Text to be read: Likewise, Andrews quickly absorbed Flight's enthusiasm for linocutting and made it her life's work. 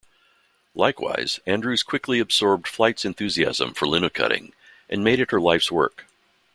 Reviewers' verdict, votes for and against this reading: rejected, 0, 2